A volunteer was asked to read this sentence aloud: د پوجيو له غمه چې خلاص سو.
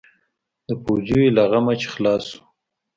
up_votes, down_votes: 2, 0